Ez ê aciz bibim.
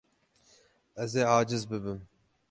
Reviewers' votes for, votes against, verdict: 6, 0, accepted